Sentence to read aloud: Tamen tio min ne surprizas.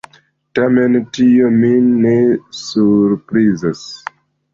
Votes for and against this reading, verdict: 2, 0, accepted